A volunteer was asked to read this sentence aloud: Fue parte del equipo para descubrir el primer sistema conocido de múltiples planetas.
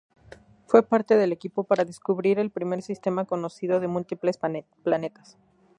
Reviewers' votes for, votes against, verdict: 4, 0, accepted